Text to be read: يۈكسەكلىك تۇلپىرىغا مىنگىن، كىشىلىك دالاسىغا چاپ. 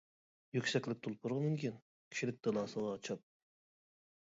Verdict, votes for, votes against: rejected, 1, 2